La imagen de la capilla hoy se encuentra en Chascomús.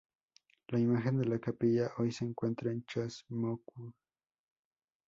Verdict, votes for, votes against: rejected, 0, 2